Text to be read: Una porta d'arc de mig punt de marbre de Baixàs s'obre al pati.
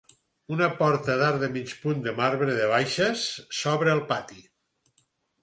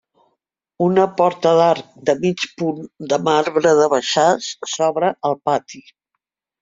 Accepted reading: second